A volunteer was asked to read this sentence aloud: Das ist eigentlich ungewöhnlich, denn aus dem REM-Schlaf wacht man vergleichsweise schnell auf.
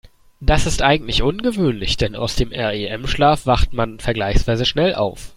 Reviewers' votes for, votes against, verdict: 2, 0, accepted